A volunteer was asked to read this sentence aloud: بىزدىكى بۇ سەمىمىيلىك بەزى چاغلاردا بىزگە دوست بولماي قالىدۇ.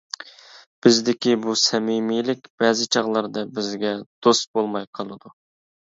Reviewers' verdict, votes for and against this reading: accepted, 2, 0